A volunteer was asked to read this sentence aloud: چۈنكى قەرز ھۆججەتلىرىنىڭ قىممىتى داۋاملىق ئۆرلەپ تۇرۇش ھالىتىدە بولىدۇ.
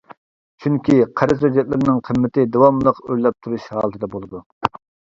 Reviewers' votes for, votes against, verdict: 1, 2, rejected